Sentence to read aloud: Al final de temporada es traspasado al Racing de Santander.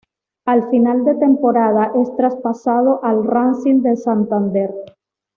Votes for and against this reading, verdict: 2, 0, accepted